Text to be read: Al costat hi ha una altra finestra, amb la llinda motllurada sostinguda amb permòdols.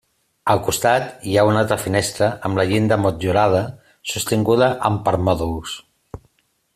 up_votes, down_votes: 2, 1